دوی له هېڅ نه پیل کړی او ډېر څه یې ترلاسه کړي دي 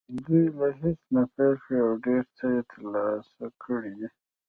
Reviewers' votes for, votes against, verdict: 2, 1, accepted